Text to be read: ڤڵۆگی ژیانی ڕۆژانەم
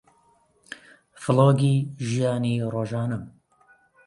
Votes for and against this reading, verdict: 2, 0, accepted